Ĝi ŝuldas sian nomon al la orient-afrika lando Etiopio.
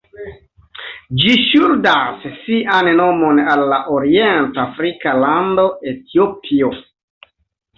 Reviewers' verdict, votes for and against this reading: rejected, 1, 2